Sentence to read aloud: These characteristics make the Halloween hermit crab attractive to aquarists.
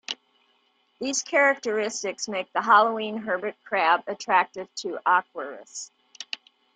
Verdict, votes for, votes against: rejected, 0, 2